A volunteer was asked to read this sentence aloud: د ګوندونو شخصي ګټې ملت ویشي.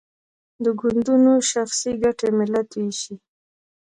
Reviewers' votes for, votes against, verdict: 1, 2, rejected